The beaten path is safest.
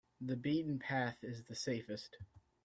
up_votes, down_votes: 1, 2